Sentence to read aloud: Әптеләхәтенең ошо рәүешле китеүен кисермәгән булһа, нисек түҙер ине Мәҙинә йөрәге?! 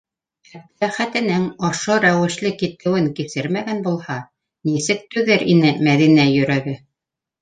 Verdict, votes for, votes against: accepted, 3, 2